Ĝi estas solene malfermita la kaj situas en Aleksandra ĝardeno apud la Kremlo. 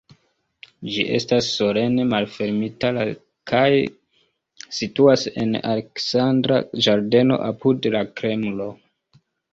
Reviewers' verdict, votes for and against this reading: accepted, 2, 0